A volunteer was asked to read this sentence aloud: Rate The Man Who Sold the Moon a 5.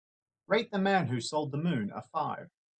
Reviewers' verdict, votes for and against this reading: rejected, 0, 2